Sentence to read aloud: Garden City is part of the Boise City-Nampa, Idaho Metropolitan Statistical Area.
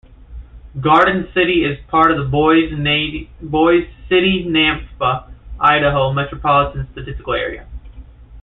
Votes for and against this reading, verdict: 1, 2, rejected